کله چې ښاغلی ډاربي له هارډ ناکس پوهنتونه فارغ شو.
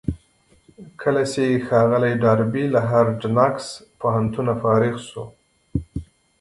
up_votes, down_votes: 0, 2